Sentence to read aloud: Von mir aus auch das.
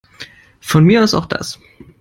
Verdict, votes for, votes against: accepted, 3, 0